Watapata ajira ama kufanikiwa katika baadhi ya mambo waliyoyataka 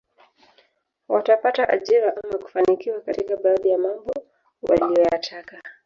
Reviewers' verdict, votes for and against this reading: rejected, 0, 3